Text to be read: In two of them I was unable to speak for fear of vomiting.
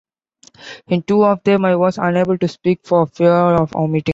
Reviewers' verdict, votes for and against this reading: rejected, 0, 2